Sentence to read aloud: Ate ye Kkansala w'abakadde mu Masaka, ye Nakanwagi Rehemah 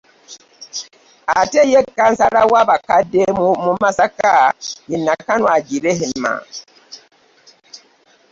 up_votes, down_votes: 0, 2